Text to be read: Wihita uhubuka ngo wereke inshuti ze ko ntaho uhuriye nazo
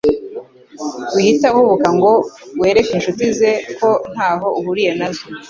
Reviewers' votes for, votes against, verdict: 2, 0, accepted